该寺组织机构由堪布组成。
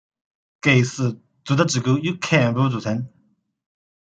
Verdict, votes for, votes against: rejected, 0, 2